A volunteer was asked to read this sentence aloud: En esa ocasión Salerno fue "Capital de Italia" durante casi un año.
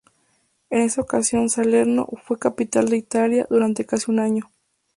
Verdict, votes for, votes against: accepted, 2, 0